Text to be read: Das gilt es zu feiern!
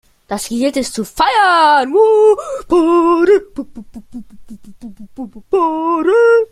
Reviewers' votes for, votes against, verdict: 0, 2, rejected